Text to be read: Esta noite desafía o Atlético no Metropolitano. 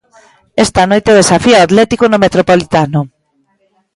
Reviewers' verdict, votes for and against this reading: accepted, 2, 0